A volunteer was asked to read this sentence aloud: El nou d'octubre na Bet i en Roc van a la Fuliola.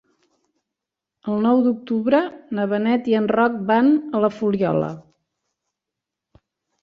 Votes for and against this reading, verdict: 0, 2, rejected